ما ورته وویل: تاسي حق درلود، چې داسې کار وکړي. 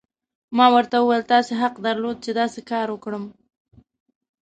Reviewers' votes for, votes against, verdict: 1, 2, rejected